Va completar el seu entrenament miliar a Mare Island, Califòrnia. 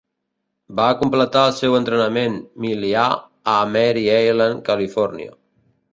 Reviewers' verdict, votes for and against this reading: rejected, 0, 2